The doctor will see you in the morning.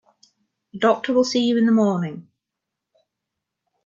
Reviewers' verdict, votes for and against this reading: rejected, 0, 2